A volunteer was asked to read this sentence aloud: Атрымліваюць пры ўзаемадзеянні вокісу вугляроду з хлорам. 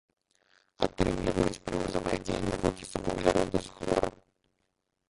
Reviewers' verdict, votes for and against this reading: rejected, 0, 2